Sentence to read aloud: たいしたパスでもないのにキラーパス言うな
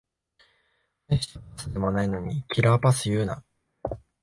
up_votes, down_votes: 0, 2